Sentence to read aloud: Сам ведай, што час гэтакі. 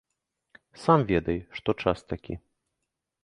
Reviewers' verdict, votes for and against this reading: rejected, 1, 2